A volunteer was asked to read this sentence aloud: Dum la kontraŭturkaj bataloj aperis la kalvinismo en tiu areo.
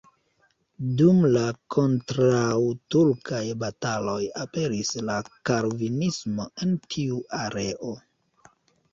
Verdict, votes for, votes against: rejected, 0, 2